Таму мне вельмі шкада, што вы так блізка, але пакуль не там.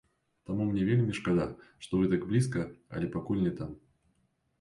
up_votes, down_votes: 2, 0